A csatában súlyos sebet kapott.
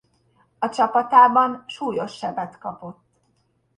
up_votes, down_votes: 0, 2